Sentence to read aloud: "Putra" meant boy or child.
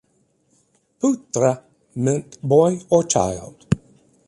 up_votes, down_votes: 4, 0